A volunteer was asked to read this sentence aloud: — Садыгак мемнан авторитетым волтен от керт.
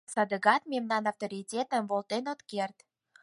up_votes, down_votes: 4, 0